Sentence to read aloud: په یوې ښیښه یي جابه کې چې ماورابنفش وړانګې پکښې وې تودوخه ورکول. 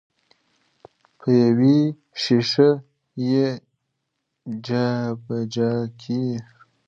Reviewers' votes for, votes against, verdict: 0, 2, rejected